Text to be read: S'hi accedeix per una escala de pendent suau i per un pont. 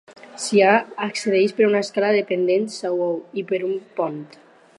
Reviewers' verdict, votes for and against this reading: accepted, 4, 2